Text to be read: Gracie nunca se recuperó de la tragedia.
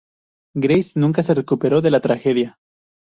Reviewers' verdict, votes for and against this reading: accepted, 2, 0